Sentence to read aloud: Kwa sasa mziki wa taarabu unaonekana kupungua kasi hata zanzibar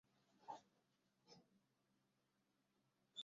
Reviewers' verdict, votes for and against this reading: rejected, 0, 2